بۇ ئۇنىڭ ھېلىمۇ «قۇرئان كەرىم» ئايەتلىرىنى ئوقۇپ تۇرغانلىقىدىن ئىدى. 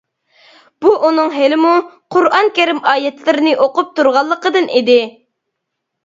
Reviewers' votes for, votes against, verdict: 2, 0, accepted